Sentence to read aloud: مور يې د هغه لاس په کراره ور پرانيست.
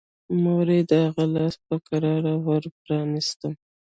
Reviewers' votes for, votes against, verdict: 0, 2, rejected